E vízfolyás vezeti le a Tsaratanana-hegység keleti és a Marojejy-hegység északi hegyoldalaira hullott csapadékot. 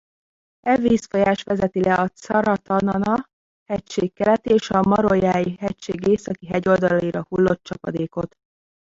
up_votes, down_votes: 0, 2